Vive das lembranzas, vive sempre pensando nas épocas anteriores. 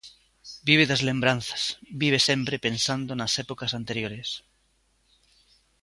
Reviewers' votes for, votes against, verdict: 2, 0, accepted